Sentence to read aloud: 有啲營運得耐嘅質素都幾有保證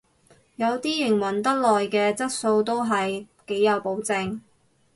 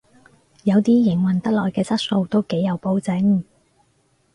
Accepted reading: second